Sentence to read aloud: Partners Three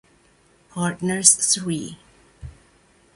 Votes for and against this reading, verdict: 2, 0, accepted